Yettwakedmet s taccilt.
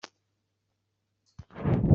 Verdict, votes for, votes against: rejected, 0, 2